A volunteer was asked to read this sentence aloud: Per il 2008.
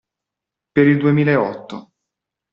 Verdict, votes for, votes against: rejected, 0, 2